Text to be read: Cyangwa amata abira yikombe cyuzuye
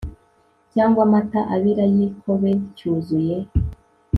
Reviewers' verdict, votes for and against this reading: rejected, 0, 2